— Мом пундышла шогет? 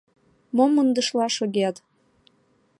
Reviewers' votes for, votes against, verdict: 1, 2, rejected